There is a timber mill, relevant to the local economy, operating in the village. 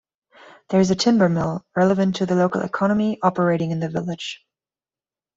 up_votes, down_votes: 2, 0